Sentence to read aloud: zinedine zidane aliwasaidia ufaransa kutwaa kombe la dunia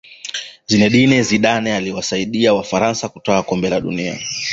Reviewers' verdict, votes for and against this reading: rejected, 1, 2